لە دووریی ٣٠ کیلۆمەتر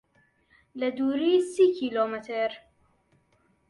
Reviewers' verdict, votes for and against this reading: rejected, 0, 2